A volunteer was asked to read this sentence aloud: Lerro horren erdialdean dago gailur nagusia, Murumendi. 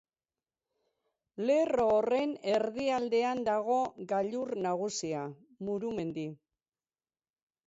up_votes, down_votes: 4, 0